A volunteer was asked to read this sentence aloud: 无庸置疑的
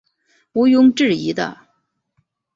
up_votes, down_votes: 2, 0